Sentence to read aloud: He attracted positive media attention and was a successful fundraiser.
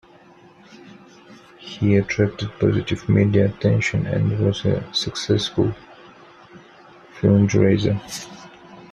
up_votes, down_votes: 2, 0